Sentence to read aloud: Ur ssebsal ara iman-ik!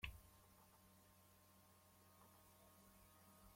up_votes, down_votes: 0, 2